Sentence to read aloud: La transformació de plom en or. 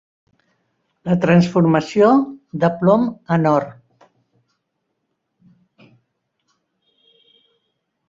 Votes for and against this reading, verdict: 3, 0, accepted